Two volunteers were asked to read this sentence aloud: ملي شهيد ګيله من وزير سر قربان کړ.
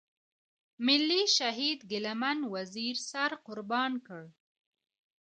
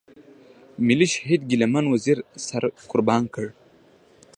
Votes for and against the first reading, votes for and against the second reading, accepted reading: 0, 2, 2, 0, second